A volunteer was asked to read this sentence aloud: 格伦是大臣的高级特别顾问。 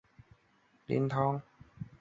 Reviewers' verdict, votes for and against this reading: rejected, 1, 3